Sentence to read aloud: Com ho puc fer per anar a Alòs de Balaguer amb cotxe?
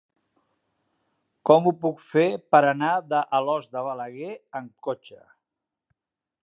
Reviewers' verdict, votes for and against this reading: rejected, 2, 3